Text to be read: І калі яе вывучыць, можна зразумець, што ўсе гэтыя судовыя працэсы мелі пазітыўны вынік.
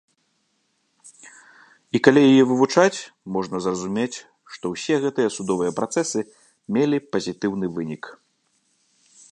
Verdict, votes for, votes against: rejected, 2, 3